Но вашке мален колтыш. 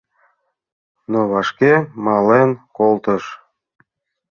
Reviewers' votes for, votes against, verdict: 2, 0, accepted